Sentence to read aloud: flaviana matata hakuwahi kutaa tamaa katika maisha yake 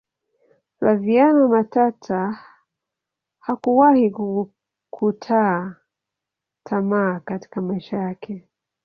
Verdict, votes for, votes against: accepted, 2, 0